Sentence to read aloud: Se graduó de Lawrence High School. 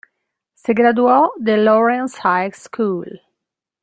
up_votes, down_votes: 2, 0